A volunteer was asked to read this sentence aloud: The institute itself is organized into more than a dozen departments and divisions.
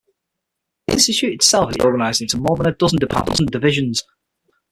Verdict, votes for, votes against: rejected, 0, 6